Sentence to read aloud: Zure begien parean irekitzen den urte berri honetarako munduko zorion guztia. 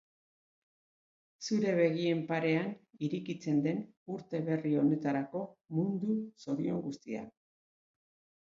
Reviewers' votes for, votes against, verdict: 1, 2, rejected